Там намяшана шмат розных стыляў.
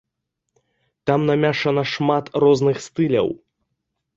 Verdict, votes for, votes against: rejected, 0, 2